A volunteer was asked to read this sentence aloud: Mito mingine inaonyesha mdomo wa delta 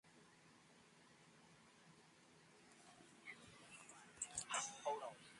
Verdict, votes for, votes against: rejected, 0, 2